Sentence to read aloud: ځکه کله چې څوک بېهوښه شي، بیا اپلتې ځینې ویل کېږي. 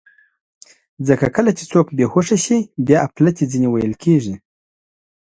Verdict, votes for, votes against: accepted, 2, 0